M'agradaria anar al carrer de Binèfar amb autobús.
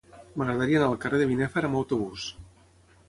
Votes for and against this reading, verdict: 6, 0, accepted